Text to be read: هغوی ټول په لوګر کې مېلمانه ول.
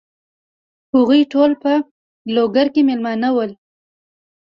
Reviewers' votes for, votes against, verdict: 2, 0, accepted